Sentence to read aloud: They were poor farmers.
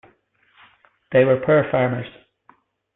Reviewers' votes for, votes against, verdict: 2, 0, accepted